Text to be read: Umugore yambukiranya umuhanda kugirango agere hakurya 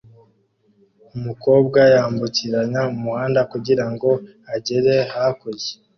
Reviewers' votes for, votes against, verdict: 2, 0, accepted